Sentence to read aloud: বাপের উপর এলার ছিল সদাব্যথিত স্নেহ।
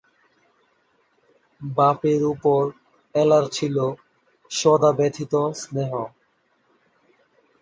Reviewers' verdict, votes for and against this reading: accepted, 4, 0